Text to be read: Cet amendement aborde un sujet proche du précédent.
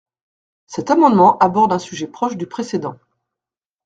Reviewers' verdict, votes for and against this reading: accepted, 2, 0